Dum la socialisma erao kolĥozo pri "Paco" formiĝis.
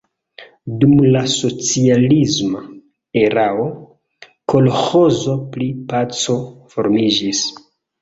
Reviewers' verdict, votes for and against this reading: rejected, 1, 2